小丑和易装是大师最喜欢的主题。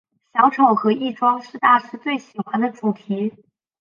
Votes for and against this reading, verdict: 8, 0, accepted